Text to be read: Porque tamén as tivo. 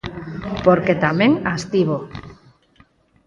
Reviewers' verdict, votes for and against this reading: accepted, 4, 0